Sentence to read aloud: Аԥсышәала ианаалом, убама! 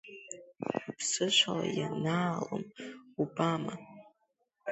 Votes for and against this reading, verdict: 0, 2, rejected